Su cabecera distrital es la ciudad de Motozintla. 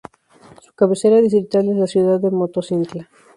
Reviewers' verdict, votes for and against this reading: rejected, 0, 4